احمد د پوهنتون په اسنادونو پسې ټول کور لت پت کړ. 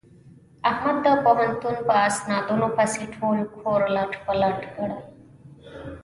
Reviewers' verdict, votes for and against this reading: rejected, 0, 2